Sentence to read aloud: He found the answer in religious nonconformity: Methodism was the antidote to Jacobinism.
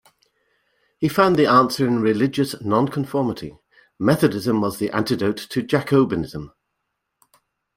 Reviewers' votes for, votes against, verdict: 2, 0, accepted